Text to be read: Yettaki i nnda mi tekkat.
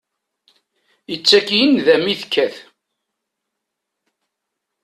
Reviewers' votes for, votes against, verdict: 1, 2, rejected